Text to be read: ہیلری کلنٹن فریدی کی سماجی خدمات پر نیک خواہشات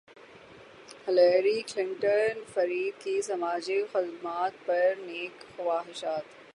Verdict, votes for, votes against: rejected, 0, 3